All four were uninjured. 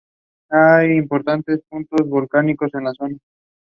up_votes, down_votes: 0, 7